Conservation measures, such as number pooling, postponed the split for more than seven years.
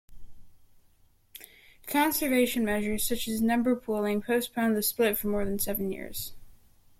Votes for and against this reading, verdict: 0, 2, rejected